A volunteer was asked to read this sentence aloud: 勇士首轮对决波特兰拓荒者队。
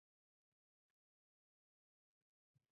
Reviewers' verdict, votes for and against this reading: accepted, 2, 0